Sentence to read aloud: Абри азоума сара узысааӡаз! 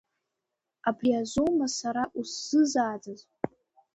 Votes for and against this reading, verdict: 1, 2, rejected